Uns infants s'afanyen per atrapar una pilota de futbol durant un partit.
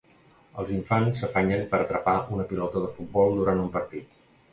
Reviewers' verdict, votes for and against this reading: rejected, 1, 2